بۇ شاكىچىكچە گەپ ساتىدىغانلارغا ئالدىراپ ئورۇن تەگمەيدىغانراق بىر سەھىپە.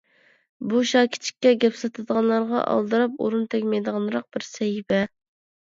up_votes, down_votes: 1, 2